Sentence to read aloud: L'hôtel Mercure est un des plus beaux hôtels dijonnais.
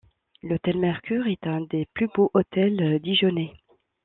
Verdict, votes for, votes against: rejected, 1, 2